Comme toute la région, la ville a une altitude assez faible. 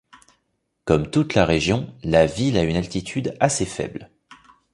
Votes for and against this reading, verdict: 1, 2, rejected